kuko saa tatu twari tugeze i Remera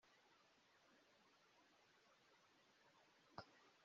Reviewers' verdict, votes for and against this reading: rejected, 0, 2